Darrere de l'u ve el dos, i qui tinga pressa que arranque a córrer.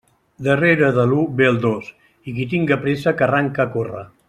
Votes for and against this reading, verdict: 2, 0, accepted